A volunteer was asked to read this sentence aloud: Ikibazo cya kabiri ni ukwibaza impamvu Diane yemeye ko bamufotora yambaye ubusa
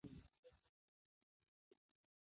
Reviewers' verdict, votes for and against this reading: rejected, 0, 2